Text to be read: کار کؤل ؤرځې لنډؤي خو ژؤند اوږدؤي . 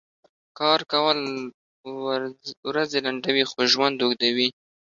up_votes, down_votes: 1, 2